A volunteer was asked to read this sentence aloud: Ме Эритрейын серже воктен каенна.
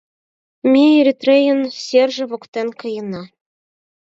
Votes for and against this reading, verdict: 4, 2, accepted